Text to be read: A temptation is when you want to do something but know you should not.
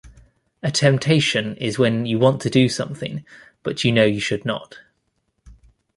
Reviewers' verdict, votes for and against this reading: accepted, 2, 0